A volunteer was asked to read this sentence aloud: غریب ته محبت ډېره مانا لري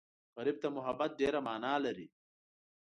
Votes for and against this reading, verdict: 2, 0, accepted